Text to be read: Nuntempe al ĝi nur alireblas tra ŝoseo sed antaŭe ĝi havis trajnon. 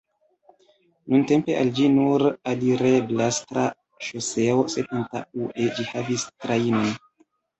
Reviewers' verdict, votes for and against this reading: rejected, 0, 2